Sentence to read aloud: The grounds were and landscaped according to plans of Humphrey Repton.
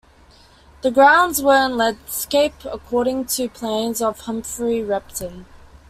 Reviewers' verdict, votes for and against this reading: rejected, 0, 2